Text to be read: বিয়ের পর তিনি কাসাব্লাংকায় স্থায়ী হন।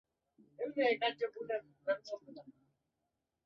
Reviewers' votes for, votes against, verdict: 0, 3, rejected